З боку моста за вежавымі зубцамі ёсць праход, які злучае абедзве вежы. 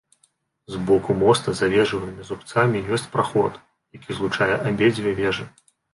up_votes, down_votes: 0, 2